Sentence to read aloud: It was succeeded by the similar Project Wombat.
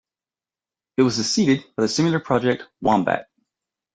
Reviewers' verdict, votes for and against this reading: accepted, 2, 1